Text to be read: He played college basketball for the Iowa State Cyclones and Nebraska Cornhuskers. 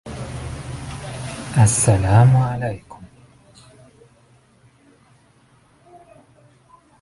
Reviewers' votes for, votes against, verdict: 0, 2, rejected